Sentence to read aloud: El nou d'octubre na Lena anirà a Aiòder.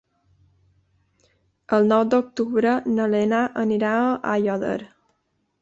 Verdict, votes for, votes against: accepted, 3, 0